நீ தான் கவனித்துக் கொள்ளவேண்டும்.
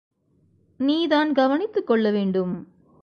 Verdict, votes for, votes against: accepted, 2, 0